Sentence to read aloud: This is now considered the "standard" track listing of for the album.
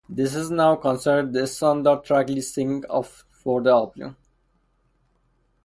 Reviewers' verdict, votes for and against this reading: rejected, 2, 2